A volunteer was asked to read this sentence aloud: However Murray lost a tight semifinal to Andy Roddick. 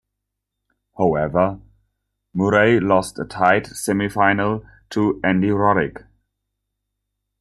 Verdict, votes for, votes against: rejected, 0, 2